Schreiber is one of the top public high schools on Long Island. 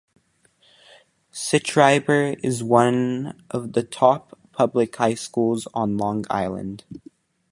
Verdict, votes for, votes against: accepted, 2, 0